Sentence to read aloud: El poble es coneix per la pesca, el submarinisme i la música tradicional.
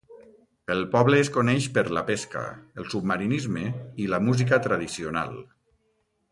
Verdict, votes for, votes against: accepted, 2, 0